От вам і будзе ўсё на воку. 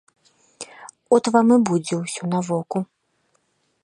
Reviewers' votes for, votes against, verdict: 2, 0, accepted